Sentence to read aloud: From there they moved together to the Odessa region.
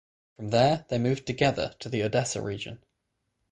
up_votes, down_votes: 0, 3